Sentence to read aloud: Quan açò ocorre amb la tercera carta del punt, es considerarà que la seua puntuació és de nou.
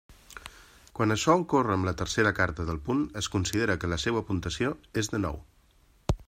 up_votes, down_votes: 1, 2